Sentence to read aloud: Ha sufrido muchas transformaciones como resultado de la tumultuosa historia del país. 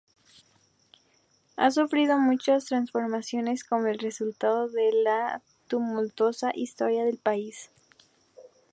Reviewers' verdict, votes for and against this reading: accepted, 2, 0